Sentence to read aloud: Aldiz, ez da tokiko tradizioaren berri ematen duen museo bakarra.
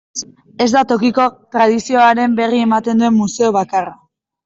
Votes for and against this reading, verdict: 0, 2, rejected